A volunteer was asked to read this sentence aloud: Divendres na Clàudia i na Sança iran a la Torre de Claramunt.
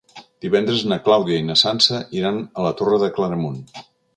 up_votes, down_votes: 2, 0